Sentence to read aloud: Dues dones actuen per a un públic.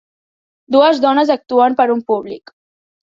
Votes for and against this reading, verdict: 2, 0, accepted